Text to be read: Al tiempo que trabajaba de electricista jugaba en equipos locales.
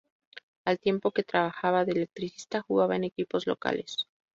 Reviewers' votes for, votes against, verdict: 2, 0, accepted